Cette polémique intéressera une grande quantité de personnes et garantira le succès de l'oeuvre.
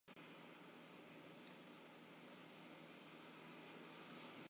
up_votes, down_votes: 0, 2